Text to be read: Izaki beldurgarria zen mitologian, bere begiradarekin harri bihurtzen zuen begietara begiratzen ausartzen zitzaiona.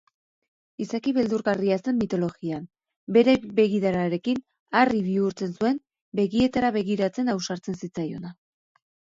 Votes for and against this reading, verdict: 0, 2, rejected